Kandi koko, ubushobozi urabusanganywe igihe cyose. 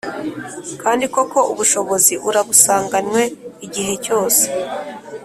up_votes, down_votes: 2, 0